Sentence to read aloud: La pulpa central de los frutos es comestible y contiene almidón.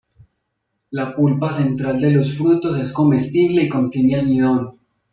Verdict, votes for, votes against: accepted, 2, 0